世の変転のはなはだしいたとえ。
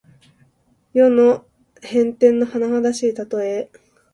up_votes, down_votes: 2, 1